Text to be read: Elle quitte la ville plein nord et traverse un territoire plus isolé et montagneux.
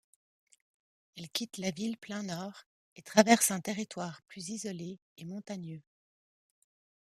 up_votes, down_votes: 2, 0